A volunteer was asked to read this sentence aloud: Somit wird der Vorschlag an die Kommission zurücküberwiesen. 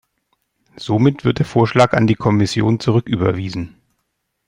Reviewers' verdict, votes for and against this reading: accepted, 2, 0